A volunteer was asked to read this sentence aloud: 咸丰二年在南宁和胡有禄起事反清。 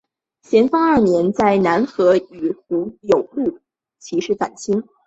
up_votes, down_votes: 0, 2